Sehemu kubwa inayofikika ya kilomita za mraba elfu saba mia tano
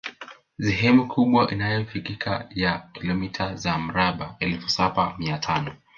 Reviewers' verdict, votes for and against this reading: rejected, 0, 2